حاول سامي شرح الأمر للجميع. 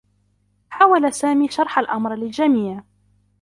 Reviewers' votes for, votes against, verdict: 2, 0, accepted